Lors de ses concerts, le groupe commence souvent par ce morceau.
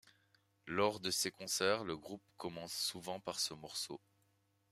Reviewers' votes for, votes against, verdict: 2, 0, accepted